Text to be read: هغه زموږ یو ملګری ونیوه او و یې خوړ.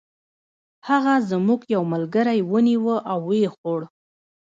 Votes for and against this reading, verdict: 1, 2, rejected